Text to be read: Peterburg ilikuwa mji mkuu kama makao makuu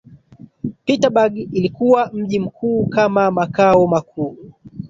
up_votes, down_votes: 1, 2